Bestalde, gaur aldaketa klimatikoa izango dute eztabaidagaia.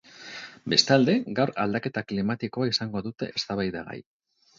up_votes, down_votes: 0, 4